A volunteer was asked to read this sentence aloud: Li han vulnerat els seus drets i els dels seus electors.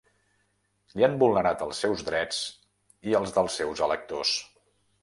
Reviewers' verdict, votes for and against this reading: accepted, 4, 0